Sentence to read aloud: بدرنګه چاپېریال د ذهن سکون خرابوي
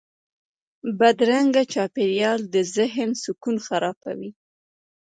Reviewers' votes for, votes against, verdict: 2, 1, accepted